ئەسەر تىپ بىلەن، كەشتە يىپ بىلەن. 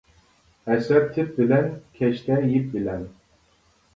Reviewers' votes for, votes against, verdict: 0, 2, rejected